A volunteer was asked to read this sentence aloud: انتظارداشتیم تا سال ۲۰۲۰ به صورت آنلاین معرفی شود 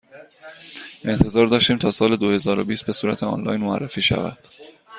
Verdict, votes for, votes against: rejected, 0, 2